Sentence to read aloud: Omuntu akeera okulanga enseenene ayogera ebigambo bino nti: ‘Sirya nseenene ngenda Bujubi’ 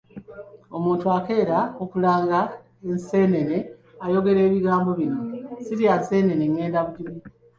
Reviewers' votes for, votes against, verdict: 3, 1, accepted